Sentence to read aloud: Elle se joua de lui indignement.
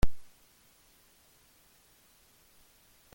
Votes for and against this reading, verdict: 0, 2, rejected